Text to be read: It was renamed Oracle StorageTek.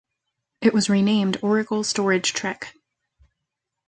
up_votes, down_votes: 1, 2